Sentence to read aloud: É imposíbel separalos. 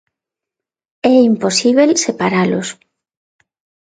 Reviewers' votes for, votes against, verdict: 2, 0, accepted